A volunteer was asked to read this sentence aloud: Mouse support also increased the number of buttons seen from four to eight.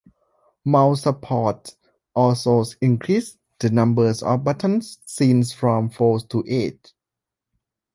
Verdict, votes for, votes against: rejected, 1, 2